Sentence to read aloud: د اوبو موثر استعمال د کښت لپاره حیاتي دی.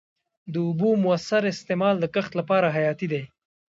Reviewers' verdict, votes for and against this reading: rejected, 1, 2